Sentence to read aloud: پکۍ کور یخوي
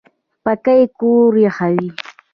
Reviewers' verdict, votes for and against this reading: accepted, 2, 0